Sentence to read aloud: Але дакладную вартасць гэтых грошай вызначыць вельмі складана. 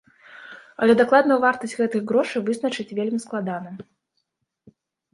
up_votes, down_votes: 2, 1